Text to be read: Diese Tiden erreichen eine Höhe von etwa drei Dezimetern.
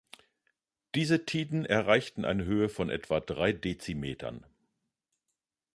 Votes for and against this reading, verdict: 0, 3, rejected